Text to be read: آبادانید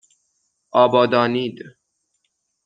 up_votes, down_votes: 6, 0